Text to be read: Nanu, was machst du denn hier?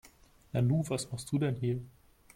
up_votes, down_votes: 2, 0